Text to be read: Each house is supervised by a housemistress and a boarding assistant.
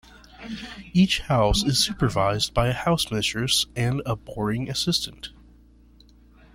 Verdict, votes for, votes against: accepted, 2, 0